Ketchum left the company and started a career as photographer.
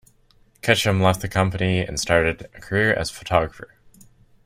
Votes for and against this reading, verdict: 2, 0, accepted